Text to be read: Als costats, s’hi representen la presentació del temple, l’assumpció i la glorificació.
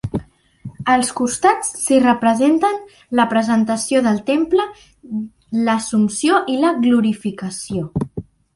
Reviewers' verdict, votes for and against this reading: accepted, 2, 0